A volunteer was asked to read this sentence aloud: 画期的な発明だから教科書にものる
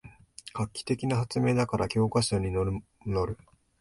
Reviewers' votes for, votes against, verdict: 1, 2, rejected